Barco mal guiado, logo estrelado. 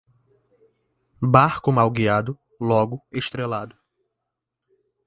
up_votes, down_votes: 2, 0